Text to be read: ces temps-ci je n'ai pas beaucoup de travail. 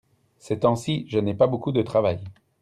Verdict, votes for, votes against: accepted, 2, 0